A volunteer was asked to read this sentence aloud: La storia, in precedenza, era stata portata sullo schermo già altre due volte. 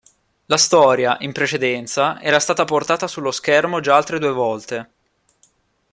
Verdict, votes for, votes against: accepted, 2, 0